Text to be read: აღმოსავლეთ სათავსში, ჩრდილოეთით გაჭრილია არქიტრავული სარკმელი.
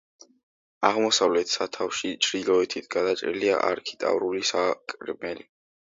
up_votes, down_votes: 1, 2